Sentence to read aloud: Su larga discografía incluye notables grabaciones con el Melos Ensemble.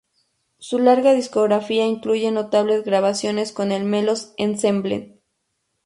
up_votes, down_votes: 2, 0